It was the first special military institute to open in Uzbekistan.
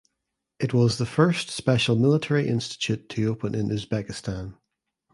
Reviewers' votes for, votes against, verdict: 2, 0, accepted